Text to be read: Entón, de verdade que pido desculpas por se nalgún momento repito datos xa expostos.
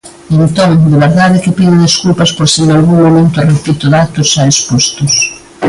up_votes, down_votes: 2, 0